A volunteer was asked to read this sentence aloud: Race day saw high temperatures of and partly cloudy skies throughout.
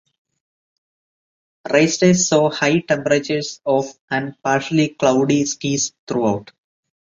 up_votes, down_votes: 0, 3